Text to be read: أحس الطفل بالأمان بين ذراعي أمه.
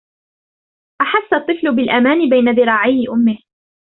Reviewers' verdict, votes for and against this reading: rejected, 1, 2